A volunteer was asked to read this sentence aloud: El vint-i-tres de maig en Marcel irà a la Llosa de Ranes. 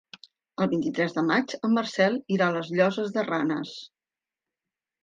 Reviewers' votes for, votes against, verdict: 1, 2, rejected